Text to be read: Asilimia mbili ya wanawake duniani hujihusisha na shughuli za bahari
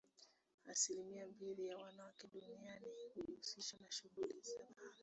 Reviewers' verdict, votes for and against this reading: rejected, 1, 2